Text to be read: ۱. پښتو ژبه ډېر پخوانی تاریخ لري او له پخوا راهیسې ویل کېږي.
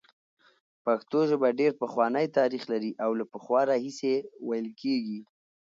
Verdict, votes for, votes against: rejected, 0, 2